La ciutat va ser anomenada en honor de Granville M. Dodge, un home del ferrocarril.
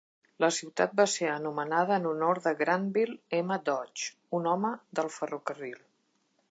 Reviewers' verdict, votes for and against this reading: accepted, 2, 0